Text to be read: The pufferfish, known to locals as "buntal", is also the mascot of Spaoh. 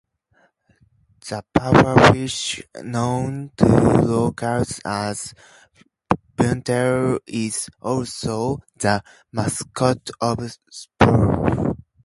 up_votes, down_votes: 2, 0